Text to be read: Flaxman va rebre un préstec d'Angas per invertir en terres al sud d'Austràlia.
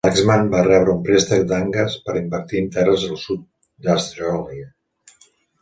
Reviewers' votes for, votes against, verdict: 1, 2, rejected